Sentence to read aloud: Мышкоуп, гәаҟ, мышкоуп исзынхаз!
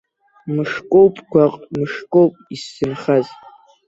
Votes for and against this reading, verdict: 1, 2, rejected